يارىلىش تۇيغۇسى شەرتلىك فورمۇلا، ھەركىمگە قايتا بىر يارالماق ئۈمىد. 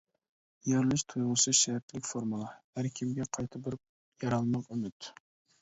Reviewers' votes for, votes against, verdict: 1, 2, rejected